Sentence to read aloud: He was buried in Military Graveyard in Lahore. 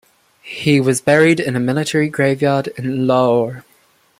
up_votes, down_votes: 2, 0